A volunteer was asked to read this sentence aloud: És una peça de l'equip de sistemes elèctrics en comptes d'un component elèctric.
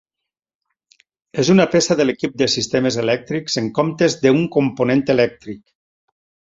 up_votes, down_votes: 2, 4